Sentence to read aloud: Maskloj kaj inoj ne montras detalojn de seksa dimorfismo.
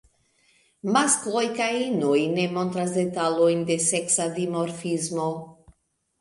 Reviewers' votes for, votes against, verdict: 1, 2, rejected